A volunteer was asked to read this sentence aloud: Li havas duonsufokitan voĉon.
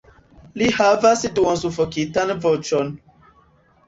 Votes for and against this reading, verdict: 2, 0, accepted